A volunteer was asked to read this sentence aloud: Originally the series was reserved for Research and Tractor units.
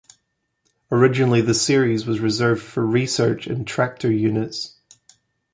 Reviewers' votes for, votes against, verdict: 2, 0, accepted